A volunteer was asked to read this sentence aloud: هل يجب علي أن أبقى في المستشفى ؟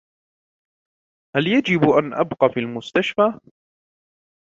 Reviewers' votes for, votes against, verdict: 1, 2, rejected